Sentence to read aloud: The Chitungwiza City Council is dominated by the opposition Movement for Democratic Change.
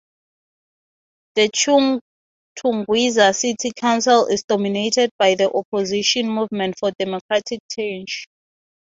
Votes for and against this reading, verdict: 6, 0, accepted